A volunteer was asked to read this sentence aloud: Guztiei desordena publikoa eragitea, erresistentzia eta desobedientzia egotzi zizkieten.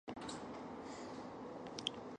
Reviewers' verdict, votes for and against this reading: rejected, 0, 2